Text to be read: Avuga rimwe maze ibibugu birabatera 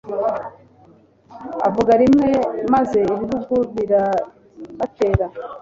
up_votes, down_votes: 2, 0